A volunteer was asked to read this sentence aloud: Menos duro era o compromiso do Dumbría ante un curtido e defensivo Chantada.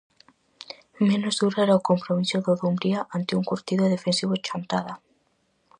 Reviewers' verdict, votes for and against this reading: accepted, 4, 0